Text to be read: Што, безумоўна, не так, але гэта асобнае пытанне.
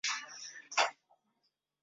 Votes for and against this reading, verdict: 0, 2, rejected